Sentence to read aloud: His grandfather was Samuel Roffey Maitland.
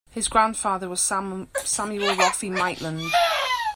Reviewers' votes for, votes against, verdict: 0, 2, rejected